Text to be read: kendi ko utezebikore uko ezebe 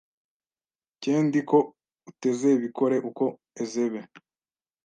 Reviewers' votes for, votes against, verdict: 1, 2, rejected